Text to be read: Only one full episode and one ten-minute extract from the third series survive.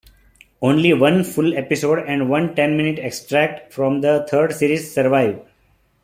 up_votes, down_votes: 2, 0